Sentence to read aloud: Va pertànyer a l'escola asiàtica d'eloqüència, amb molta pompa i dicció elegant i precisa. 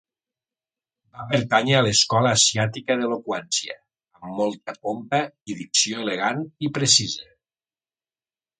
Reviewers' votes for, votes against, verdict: 3, 0, accepted